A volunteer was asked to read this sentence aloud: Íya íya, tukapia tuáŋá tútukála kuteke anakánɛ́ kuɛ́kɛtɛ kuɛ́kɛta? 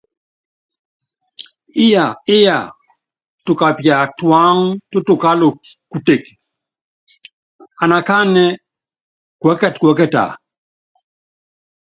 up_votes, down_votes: 2, 0